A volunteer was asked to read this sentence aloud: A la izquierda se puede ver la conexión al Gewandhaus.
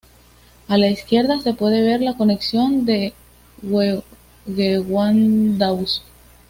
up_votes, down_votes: 2, 0